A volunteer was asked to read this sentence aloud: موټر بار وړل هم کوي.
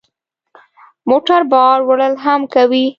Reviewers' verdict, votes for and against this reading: accepted, 3, 0